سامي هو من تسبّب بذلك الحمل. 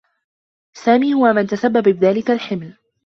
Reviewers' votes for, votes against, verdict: 1, 2, rejected